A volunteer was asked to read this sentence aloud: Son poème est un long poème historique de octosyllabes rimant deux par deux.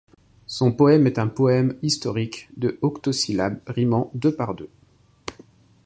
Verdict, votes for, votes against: rejected, 1, 2